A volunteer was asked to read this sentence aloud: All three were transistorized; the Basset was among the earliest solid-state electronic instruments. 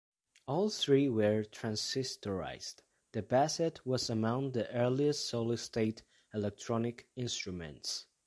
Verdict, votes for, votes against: accepted, 2, 0